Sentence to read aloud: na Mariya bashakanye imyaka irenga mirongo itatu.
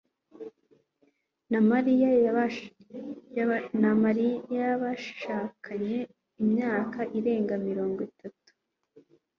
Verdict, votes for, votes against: rejected, 1, 2